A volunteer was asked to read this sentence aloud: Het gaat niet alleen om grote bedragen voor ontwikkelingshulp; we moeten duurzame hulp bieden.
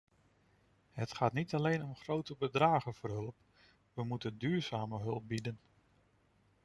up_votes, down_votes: 0, 2